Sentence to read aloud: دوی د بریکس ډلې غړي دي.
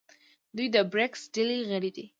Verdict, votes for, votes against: accepted, 2, 0